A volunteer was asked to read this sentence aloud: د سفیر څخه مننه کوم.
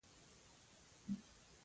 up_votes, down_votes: 0, 2